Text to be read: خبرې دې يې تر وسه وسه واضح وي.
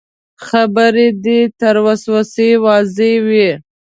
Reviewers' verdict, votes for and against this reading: accepted, 2, 1